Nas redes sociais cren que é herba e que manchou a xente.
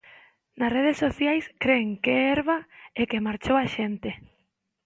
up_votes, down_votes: 0, 2